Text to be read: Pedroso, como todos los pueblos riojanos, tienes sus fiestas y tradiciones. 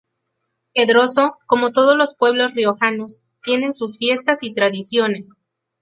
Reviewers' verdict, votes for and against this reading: accepted, 2, 0